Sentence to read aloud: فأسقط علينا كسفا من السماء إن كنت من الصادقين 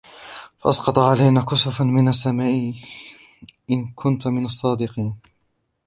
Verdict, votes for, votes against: rejected, 2, 3